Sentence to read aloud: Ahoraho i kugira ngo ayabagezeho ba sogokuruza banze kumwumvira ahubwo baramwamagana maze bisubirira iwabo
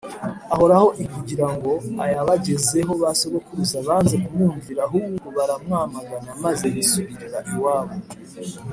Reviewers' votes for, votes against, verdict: 2, 0, accepted